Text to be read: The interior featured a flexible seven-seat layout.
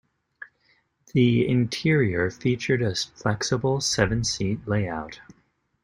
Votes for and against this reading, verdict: 2, 0, accepted